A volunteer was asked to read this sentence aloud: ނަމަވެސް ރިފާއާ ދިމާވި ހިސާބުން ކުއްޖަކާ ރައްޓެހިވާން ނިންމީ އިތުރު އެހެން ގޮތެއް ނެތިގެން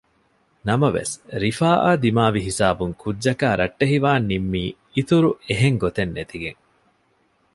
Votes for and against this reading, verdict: 2, 0, accepted